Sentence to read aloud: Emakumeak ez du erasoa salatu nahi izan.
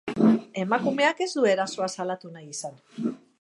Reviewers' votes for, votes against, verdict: 4, 1, accepted